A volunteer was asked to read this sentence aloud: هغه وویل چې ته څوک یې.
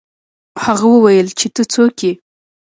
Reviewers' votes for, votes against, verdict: 2, 0, accepted